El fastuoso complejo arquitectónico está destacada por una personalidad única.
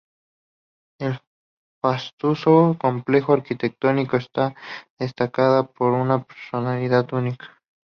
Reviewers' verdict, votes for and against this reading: accepted, 2, 0